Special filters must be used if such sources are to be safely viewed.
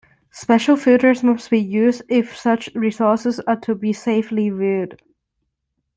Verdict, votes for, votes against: rejected, 0, 2